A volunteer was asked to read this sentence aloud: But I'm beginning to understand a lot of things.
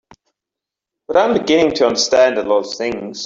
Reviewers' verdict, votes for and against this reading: accepted, 2, 1